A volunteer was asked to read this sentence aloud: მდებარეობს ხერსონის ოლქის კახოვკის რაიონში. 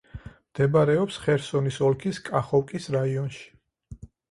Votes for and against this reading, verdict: 4, 0, accepted